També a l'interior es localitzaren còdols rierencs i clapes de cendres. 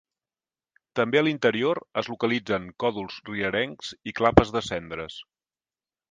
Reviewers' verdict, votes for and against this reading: rejected, 1, 2